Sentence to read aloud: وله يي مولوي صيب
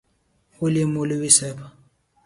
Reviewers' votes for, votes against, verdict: 2, 0, accepted